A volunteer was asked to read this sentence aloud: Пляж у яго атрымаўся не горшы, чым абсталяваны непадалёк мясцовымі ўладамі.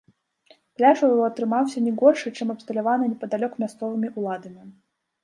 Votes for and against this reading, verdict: 1, 2, rejected